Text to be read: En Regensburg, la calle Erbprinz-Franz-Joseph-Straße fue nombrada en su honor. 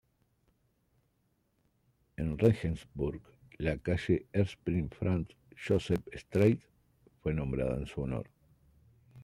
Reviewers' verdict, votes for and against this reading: accepted, 2, 0